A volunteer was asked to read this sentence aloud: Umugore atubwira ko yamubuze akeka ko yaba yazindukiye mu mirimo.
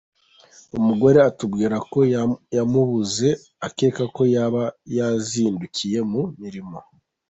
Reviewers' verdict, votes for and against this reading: rejected, 1, 2